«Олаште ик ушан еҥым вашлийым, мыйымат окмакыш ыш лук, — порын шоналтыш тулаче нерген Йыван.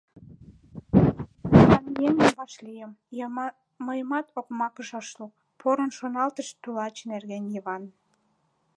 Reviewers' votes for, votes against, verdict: 0, 2, rejected